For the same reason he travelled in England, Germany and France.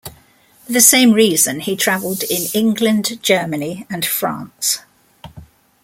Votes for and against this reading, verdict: 1, 2, rejected